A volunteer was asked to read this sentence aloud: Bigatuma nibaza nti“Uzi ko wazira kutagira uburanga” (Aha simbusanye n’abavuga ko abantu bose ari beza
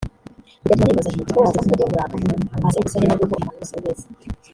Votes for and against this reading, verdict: 0, 2, rejected